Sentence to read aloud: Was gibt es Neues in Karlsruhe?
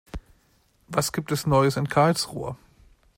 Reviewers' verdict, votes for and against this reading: accepted, 2, 0